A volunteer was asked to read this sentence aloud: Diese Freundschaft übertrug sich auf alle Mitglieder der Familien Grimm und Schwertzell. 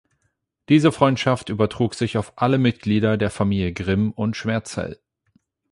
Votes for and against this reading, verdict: 0, 8, rejected